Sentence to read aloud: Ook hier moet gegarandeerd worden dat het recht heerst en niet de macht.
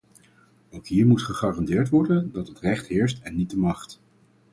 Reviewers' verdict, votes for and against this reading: rejected, 2, 2